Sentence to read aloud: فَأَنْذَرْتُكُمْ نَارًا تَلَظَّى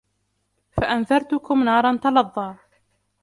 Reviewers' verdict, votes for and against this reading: accepted, 2, 1